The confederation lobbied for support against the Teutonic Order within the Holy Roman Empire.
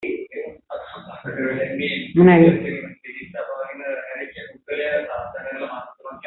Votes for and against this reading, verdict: 0, 2, rejected